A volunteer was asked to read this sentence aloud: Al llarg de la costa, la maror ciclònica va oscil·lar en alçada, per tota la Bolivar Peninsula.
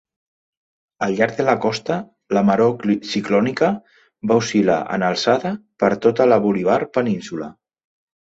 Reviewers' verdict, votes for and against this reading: rejected, 0, 3